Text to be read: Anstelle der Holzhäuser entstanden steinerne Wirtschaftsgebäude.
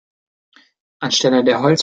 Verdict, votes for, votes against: rejected, 0, 2